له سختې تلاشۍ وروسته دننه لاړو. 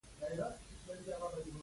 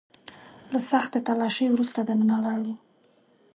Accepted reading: second